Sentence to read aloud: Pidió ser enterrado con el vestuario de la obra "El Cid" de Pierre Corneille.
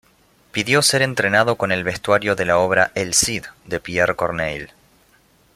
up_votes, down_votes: 1, 2